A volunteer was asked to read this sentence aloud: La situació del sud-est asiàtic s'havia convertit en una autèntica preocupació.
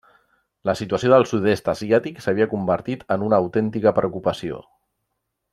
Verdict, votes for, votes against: accepted, 3, 0